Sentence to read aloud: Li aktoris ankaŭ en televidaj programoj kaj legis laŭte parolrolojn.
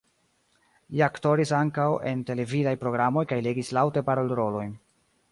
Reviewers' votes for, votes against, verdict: 2, 1, accepted